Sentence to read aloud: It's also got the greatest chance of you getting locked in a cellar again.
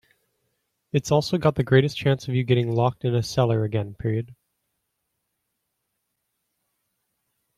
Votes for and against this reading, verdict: 1, 2, rejected